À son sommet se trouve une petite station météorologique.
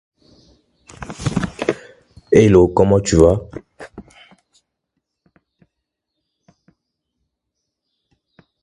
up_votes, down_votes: 0, 2